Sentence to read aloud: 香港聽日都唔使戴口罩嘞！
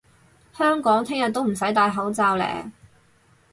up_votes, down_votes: 0, 4